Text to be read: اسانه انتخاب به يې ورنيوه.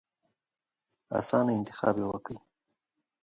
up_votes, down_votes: 2, 1